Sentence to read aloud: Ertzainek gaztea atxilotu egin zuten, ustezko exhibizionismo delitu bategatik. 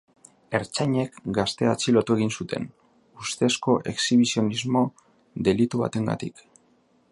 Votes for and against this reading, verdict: 2, 5, rejected